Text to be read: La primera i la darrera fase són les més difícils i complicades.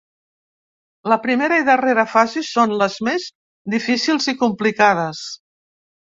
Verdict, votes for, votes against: rejected, 1, 3